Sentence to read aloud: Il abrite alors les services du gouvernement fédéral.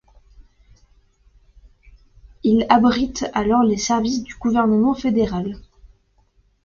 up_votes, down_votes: 2, 0